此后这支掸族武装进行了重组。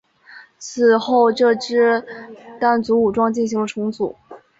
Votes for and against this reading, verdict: 2, 0, accepted